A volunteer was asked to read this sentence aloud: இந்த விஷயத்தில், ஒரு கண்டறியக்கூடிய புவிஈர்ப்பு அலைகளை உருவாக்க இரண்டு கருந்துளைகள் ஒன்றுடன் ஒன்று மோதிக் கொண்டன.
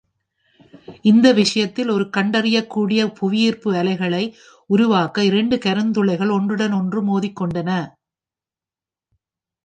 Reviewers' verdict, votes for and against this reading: accepted, 2, 0